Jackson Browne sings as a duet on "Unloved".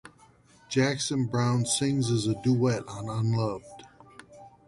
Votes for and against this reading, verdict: 2, 0, accepted